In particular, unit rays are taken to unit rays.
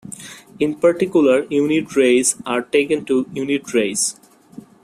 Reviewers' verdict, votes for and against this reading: accepted, 2, 0